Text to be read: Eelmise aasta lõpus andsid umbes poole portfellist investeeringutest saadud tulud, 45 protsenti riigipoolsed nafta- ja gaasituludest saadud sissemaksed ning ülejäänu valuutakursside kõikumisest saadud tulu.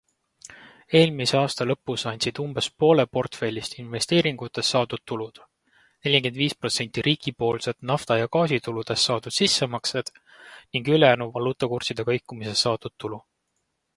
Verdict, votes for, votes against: rejected, 0, 2